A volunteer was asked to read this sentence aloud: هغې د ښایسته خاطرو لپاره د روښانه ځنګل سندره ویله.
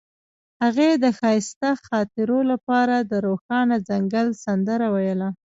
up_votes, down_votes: 2, 0